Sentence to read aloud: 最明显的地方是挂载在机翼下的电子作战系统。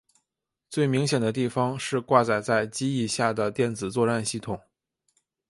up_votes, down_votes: 2, 0